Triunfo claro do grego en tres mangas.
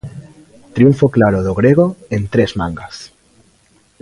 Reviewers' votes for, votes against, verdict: 2, 0, accepted